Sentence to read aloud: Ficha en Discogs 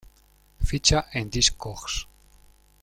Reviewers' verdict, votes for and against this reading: rejected, 1, 2